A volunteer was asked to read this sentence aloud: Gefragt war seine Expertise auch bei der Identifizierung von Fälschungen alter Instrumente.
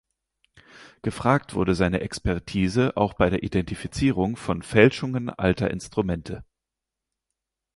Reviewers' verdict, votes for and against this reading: rejected, 0, 4